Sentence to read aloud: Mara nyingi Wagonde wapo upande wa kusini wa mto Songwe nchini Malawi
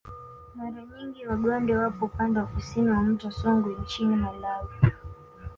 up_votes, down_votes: 2, 0